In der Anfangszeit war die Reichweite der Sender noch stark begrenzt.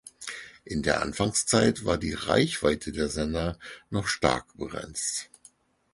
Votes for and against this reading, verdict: 4, 0, accepted